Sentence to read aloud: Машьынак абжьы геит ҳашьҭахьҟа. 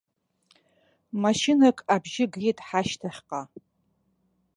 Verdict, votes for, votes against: rejected, 1, 2